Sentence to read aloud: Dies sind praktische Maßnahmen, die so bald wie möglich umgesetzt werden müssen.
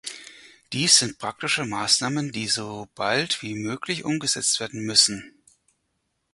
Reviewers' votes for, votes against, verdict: 2, 4, rejected